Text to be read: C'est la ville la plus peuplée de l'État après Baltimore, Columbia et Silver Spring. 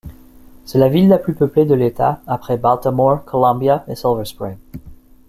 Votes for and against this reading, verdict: 3, 0, accepted